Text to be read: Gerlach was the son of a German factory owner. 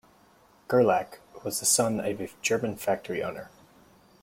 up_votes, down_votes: 2, 1